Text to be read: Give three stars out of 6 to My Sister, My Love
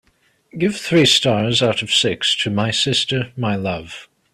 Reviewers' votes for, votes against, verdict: 0, 2, rejected